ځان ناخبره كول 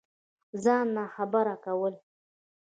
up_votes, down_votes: 0, 2